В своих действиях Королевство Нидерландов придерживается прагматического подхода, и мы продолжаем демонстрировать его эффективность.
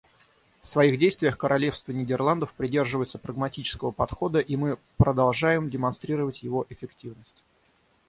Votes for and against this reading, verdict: 3, 3, rejected